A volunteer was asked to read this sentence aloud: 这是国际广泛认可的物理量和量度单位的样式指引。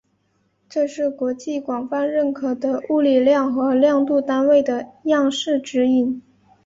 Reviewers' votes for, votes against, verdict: 4, 0, accepted